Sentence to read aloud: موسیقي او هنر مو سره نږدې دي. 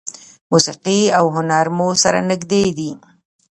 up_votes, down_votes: 0, 2